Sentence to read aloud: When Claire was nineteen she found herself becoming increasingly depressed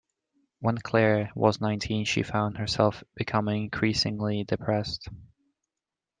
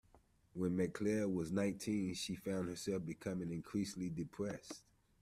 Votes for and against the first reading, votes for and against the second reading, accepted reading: 2, 0, 0, 2, first